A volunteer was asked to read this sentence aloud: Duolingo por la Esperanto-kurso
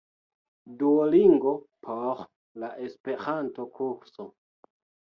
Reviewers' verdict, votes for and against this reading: accepted, 2, 0